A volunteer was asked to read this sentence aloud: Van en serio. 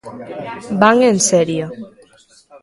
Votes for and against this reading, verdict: 2, 0, accepted